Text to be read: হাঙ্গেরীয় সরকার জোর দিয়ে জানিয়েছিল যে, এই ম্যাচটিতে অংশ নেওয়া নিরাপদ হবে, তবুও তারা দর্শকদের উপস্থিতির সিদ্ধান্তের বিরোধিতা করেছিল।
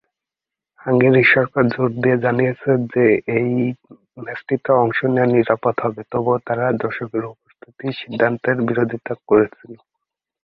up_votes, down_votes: 0, 3